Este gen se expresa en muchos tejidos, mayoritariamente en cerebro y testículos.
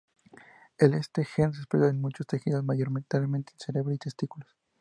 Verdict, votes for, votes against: accepted, 2, 0